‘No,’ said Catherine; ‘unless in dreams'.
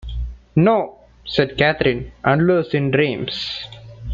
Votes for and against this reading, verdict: 2, 0, accepted